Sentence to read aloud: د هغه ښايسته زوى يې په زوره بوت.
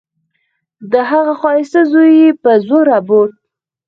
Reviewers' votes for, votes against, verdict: 0, 4, rejected